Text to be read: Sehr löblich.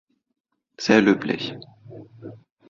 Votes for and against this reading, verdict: 2, 0, accepted